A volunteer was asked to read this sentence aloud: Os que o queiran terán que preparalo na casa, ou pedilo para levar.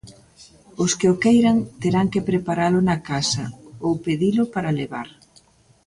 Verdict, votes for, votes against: accepted, 2, 0